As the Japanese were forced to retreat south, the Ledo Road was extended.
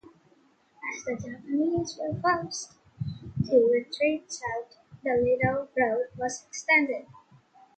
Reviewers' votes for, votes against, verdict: 0, 2, rejected